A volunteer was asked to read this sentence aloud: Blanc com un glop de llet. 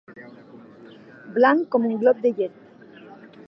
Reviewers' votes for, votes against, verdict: 2, 1, accepted